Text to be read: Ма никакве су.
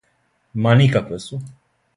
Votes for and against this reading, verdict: 2, 0, accepted